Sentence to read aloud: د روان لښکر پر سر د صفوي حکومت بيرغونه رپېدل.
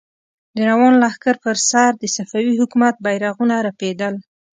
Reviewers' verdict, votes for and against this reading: accepted, 2, 0